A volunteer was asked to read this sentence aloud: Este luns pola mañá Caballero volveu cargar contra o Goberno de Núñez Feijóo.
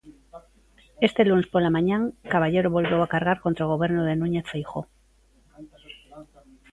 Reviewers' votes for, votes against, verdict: 0, 2, rejected